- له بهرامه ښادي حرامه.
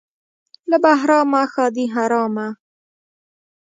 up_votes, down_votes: 1, 2